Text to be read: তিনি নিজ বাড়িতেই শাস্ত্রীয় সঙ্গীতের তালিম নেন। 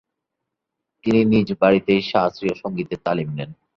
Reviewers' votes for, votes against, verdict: 2, 0, accepted